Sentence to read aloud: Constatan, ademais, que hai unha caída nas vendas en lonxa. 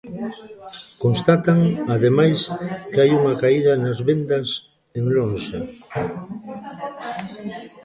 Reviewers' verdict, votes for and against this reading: accepted, 2, 1